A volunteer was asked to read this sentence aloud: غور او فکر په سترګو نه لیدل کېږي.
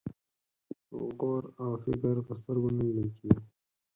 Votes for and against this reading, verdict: 2, 4, rejected